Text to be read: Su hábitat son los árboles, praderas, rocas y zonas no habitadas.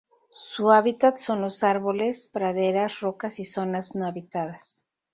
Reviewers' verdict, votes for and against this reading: accepted, 2, 0